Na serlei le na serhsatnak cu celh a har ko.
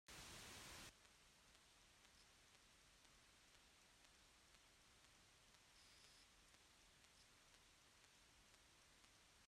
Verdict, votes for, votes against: rejected, 0, 2